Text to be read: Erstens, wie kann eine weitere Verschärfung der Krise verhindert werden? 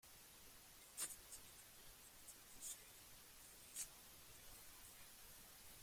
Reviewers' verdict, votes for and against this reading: rejected, 0, 2